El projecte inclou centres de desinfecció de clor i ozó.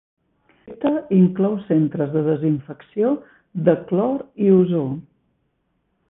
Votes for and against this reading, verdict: 1, 2, rejected